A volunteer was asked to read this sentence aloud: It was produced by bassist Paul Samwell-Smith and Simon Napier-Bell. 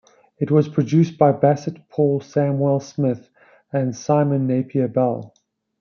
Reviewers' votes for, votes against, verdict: 1, 2, rejected